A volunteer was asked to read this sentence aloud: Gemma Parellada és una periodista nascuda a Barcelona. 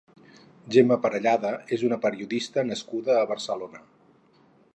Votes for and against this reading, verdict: 2, 2, rejected